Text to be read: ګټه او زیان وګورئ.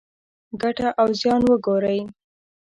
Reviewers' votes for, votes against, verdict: 3, 1, accepted